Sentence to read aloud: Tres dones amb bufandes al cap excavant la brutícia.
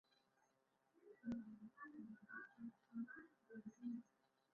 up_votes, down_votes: 1, 2